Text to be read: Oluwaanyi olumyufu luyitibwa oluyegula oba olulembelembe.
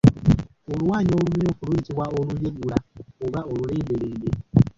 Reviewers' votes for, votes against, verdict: 0, 2, rejected